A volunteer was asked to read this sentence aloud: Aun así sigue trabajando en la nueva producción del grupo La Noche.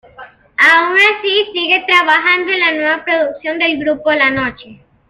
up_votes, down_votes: 1, 2